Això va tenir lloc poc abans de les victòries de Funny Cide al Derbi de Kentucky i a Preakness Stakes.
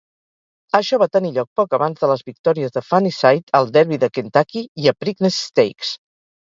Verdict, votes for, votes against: rejected, 0, 2